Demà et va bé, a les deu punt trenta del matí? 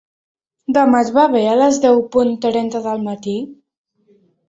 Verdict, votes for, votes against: accepted, 3, 1